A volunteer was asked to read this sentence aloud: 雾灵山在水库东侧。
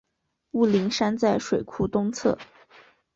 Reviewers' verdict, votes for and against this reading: accepted, 3, 0